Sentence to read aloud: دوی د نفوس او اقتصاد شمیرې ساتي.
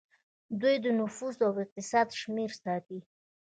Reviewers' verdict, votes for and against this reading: rejected, 0, 2